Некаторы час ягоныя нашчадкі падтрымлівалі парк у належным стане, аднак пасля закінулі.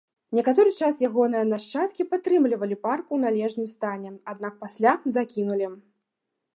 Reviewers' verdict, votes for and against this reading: accepted, 2, 0